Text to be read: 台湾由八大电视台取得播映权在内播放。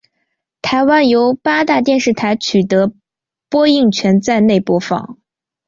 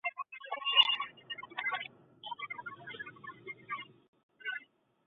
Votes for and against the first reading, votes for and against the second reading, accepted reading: 2, 1, 0, 2, first